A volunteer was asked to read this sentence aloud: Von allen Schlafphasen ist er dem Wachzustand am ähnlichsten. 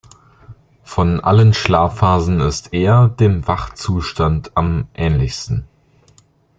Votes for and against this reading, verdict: 2, 0, accepted